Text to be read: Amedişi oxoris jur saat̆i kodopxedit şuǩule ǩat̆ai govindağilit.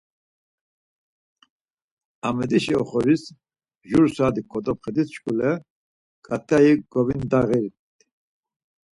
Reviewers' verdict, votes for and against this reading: accepted, 4, 2